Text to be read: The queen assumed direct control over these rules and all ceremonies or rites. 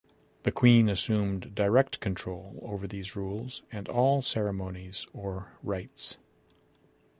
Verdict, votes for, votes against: accepted, 2, 0